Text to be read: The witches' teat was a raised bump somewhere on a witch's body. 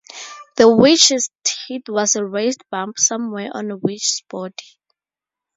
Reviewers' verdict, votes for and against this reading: accepted, 2, 0